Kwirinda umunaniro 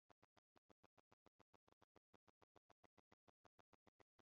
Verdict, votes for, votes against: rejected, 0, 2